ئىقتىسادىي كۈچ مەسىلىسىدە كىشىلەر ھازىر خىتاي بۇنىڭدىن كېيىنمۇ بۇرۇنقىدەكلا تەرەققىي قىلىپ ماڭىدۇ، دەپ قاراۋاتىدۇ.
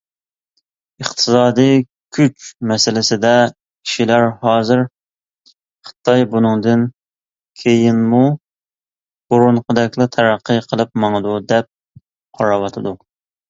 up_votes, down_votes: 2, 0